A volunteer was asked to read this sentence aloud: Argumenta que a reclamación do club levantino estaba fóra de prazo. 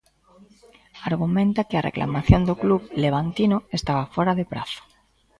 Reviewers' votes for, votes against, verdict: 2, 1, accepted